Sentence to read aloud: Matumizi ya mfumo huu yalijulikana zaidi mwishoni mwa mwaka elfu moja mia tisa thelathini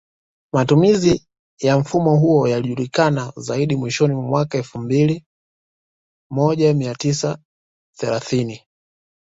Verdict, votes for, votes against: rejected, 0, 2